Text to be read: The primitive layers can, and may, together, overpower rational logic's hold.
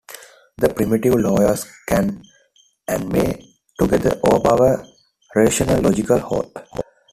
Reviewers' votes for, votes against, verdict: 1, 2, rejected